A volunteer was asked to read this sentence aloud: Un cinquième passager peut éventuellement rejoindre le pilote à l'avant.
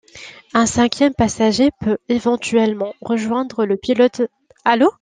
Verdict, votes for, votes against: rejected, 0, 2